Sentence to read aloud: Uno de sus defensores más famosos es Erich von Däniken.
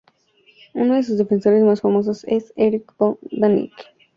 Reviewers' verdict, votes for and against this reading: accepted, 2, 0